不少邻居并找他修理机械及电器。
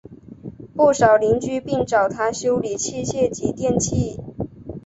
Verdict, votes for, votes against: accepted, 3, 1